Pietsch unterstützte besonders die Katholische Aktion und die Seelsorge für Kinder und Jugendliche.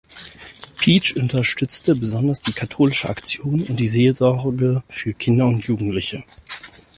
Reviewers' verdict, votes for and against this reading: rejected, 2, 4